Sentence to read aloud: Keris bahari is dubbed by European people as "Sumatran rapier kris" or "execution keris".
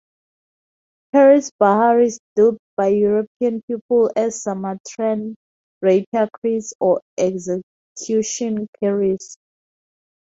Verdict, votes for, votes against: rejected, 0, 2